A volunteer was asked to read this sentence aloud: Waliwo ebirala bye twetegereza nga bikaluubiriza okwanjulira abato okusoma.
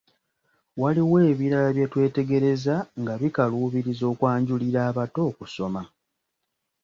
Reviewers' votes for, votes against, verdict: 2, 0, accepted